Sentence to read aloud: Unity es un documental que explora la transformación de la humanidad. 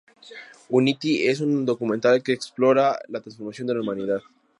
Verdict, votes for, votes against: accepted, 2, 0